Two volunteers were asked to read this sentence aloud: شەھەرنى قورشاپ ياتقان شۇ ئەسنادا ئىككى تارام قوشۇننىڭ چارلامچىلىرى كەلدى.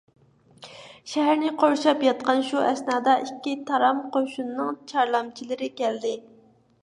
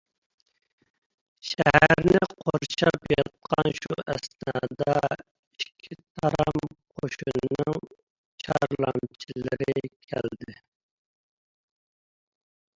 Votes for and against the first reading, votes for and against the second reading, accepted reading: 2, 0, 0, 2, first